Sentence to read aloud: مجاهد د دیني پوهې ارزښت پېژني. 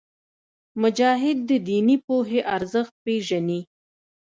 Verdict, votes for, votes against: accepted, 2, 0